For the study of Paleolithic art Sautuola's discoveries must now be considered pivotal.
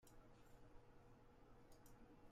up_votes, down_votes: 0, 2